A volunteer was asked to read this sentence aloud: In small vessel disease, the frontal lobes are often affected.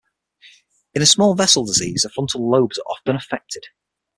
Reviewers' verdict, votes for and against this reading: rejected, 3, 6